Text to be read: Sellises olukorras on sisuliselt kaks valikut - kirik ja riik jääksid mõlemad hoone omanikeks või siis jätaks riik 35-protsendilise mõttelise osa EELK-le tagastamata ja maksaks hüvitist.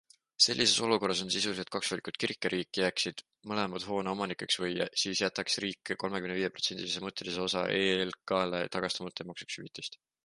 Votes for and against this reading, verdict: 0, 2, rejected